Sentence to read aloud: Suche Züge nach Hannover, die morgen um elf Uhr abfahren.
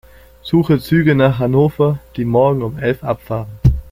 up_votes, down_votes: 0, 2